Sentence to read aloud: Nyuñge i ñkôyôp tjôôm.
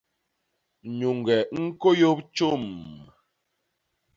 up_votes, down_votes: 0, 2